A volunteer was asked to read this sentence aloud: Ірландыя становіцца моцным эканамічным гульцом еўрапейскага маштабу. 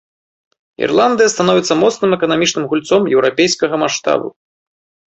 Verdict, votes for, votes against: accepted, 2, 0